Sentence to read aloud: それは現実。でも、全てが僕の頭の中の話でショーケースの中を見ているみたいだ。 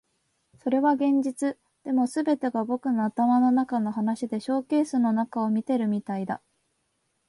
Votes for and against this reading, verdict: 6, 2, accepted